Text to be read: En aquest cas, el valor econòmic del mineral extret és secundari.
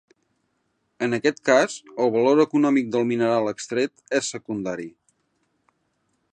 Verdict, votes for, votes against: accepted, 3, 0